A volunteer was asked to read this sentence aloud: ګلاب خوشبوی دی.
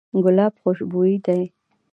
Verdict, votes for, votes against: accepted, 2, 0